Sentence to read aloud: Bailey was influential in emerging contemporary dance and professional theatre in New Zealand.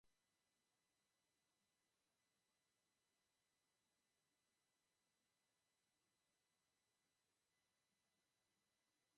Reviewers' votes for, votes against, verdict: 0, 2, rejected